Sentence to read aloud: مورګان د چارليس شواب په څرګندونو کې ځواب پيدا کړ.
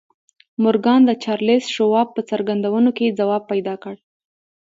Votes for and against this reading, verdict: 2, 0, accepted